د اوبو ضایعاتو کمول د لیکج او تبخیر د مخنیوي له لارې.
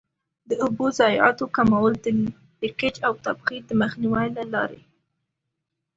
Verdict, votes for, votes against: accepted, 2, 0